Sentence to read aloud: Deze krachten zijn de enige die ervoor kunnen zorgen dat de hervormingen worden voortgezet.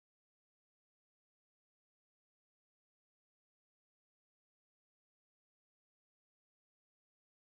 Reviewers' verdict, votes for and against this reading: rejected, 0, 3